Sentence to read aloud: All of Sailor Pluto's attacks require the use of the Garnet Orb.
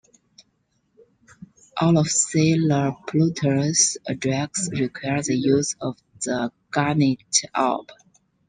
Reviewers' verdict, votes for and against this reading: accepted, 2, 0